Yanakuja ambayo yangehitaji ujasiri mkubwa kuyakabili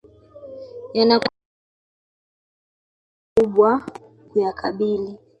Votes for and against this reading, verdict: 0, 2, rejected